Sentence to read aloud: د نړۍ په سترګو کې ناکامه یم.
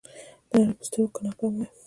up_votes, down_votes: 0, 2